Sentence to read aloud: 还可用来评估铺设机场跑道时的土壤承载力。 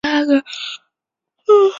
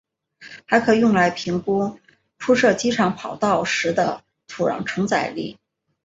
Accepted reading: second